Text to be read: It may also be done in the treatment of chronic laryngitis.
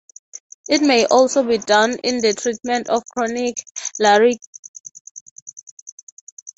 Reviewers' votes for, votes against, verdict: 0, 3, rejected